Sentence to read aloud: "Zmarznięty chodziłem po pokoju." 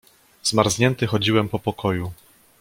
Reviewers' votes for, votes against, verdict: 2, 0, accepted